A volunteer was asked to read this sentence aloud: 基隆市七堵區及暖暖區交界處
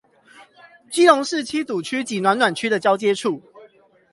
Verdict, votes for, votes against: rejected, 0, 8